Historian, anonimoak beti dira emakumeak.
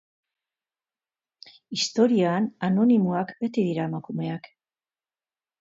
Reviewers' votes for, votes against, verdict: 2, 0, accepted